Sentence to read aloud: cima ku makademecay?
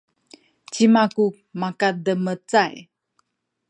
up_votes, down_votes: 1, 2